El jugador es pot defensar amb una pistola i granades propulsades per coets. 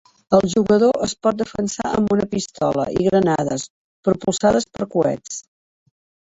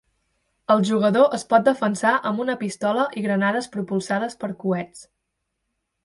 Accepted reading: second